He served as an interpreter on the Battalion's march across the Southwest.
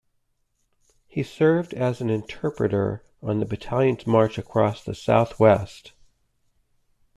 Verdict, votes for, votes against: accepted, 2, 0